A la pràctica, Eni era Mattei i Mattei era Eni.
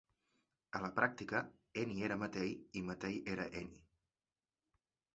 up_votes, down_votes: 2, 0